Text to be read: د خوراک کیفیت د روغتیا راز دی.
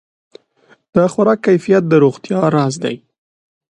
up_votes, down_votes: 2, 0